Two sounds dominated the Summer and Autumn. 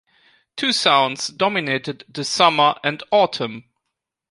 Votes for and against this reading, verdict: 2, 0, accepted